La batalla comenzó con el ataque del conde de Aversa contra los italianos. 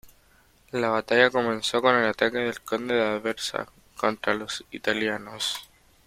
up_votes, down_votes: 2, 0